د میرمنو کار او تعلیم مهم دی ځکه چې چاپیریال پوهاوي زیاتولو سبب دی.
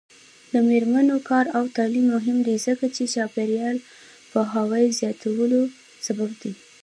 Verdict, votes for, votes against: accepted, 2, 0